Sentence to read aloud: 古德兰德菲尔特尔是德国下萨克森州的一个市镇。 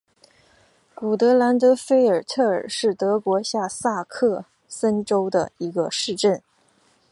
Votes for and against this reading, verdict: 5, 0, accepted